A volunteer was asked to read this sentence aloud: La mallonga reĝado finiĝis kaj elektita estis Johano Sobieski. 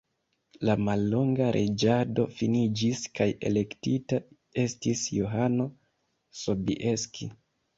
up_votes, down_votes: 3, 0